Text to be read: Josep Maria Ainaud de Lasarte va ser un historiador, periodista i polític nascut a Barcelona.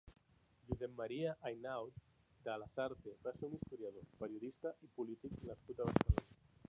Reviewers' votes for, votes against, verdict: 1, 2, rejected